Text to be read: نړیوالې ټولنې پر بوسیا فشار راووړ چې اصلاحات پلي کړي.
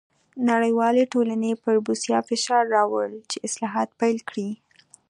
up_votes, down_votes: 0, 2